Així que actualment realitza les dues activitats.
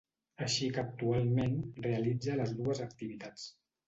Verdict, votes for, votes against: accepted, 2, 0